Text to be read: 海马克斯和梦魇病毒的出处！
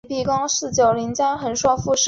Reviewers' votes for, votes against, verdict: 0, 3, rejected